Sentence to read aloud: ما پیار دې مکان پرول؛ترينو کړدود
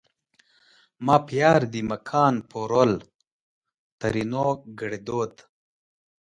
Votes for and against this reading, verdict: 2, 0, accepted